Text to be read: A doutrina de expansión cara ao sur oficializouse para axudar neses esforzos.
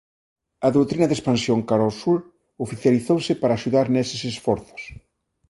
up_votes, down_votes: 2, 0